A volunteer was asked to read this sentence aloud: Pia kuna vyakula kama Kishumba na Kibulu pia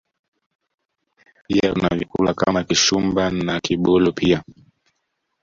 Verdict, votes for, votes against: rejected, 1, 2